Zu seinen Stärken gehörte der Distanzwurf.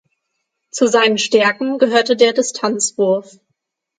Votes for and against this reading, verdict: 9, 0, accepted